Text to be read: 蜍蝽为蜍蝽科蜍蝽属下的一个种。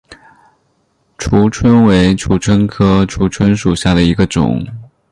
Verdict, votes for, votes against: rejected, 0, 2